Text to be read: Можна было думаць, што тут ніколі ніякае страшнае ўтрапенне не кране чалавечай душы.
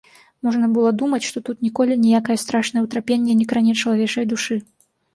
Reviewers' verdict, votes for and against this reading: accepted, 2, 0